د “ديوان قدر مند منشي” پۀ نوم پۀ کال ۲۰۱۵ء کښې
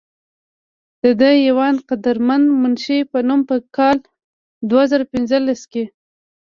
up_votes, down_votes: 0, 2